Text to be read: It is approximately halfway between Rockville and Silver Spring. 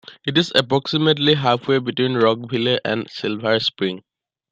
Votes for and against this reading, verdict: 2, 0, accepted